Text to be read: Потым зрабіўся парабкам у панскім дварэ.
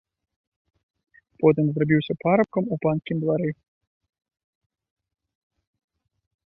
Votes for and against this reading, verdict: 1, 2, rejected